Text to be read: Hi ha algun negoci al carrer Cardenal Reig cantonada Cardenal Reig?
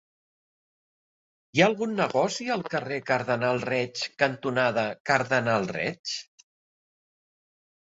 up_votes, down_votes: 2, 1